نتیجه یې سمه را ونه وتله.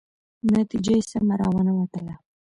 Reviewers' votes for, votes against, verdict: 0, 2, rejected